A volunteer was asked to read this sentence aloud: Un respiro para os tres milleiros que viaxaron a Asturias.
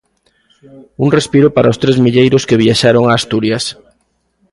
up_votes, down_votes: 2, 0